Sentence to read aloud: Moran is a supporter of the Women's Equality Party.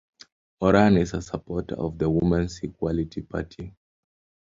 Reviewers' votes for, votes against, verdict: 2, 0, accepted